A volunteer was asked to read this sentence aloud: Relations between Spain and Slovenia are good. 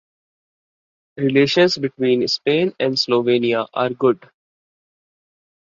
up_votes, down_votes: 2, 0